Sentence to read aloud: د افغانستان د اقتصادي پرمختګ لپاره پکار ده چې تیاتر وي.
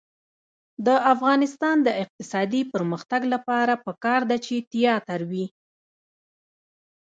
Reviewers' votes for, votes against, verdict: 1, 2, rejected